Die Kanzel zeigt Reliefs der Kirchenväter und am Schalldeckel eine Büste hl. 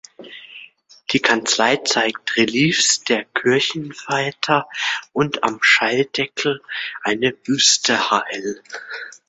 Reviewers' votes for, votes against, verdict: 0, 2, rejected